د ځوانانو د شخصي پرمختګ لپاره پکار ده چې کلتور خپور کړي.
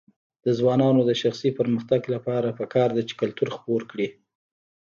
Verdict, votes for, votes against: rejected, 1, 2